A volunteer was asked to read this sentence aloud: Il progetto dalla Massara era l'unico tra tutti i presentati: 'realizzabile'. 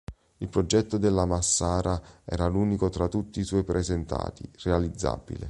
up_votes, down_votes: 1, 3